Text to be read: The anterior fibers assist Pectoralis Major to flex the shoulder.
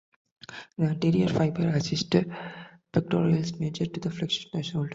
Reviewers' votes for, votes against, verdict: 0, 2, rejected